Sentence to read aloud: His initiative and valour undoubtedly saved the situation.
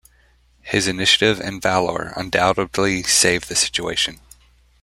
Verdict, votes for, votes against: accepted, 2, 0